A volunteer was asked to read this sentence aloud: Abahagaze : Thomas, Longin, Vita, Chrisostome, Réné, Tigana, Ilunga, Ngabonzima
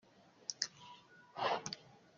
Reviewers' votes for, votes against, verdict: 0, 2, rejected